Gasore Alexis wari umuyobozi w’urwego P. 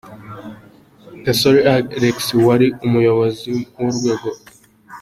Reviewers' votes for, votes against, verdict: 2, 1, accepted